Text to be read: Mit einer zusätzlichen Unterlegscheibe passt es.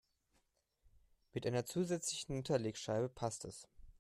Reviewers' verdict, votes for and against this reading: rejected, 0, 2